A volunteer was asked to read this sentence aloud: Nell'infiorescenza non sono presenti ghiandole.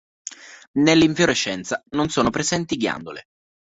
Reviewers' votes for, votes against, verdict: 2, 0, accepted